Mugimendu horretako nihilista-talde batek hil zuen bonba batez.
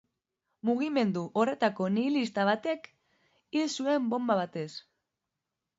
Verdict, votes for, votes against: rejected, 2, 3